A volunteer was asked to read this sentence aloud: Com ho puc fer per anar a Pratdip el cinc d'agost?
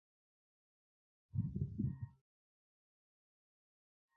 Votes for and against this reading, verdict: 0, 2, rejected